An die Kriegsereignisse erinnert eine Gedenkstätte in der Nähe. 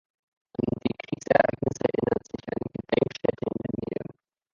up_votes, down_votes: 1, 2